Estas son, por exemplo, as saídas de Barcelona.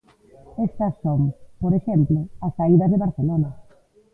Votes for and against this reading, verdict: 0, 2, rejected